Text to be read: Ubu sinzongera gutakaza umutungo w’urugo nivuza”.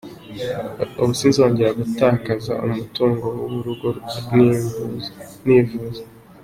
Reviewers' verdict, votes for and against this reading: rejected, 0, 2